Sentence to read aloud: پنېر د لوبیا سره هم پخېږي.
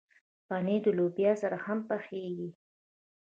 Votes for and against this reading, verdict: 2, 1, accepted